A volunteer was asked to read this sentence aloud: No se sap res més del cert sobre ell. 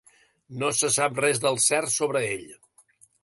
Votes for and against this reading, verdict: 2, 3, rejected